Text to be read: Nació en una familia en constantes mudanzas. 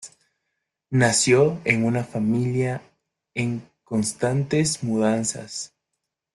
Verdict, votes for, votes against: accepted, 2, 0